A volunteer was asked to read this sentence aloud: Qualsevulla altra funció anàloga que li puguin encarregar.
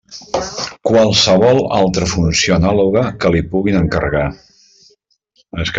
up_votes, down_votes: 0, 2